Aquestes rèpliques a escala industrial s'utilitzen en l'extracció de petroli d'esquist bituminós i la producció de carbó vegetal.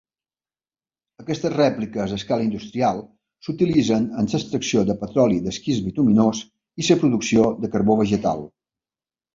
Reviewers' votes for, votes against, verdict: 0, 2, rejected